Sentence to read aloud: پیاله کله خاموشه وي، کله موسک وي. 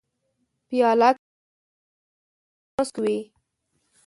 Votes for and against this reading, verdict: 0, 2, rejected